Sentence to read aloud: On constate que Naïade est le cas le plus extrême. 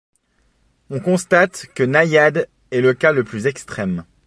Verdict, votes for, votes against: accepted, 2, 0